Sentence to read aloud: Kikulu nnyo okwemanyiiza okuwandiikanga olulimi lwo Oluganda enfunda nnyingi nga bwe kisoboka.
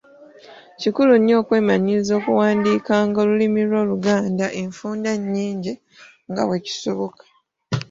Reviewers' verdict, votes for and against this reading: accepted, 2, 1